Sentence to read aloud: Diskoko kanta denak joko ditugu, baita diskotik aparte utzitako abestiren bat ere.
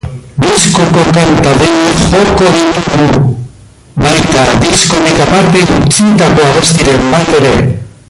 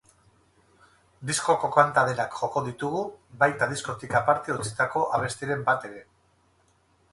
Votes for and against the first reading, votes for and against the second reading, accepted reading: 0, 2, 4, 0, second